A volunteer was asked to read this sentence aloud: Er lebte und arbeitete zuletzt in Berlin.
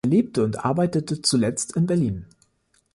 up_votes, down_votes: 1, 2